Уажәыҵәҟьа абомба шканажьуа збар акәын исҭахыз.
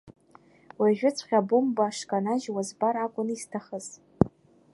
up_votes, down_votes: 2, 0